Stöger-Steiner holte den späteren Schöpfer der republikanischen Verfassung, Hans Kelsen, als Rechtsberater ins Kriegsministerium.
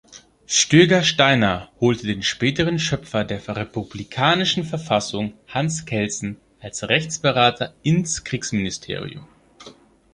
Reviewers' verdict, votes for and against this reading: accepted, 2, 0